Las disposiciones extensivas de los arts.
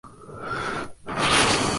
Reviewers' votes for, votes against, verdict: 0, 2, rejected